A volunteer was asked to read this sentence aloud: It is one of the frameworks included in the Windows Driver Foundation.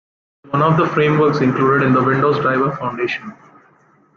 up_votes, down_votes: 0, 2